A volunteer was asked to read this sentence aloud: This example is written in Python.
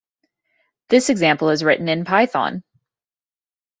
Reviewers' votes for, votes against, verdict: 0, 2, rejected